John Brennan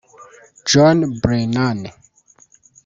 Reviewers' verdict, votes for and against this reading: rejected, 0, 2